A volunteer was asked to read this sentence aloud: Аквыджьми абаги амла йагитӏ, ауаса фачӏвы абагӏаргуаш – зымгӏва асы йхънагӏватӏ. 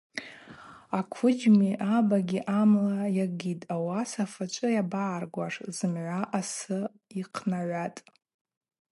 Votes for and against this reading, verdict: 4, 0, accepted